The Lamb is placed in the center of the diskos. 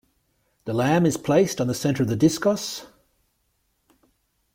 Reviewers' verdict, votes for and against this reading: rejected, 0, 2